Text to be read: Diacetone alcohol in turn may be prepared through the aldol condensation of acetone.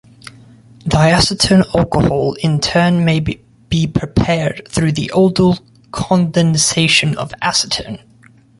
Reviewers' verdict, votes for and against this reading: rejected, 1, 2